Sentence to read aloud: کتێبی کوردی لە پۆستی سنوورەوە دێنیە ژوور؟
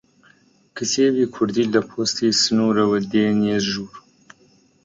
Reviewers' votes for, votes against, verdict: 2, 0, accepted